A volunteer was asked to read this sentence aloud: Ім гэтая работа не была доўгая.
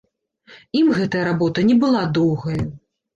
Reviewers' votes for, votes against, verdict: 2, 0, accepted